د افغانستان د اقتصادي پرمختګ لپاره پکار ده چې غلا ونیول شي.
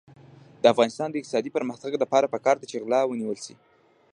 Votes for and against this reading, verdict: 0, 2, rejected